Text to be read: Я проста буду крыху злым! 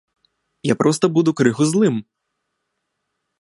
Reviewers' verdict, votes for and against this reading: accepted, 2, 1